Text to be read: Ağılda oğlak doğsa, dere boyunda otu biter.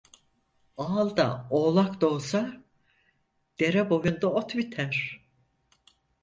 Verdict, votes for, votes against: rejected, 2, 4